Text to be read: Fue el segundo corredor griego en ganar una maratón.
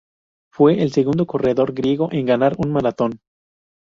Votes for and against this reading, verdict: 0, 2, rejected